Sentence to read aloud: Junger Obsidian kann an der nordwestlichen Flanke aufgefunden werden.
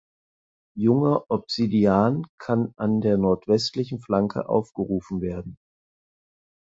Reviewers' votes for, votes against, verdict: 0, 4, rejected